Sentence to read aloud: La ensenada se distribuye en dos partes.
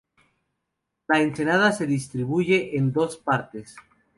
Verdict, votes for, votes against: accepted, 4, 0